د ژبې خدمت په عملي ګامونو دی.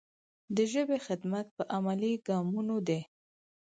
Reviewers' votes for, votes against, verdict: 4, 0, accepted